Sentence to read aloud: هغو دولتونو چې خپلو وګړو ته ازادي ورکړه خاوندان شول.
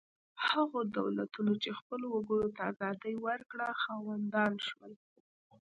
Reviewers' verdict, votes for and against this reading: rejected, 1, 2